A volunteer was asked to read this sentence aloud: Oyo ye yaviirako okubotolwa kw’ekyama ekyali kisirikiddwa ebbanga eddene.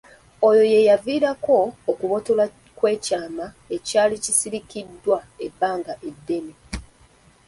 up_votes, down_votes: 2, 0